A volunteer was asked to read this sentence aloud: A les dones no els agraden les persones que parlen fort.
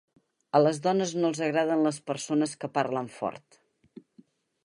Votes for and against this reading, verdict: 4, 0, accepted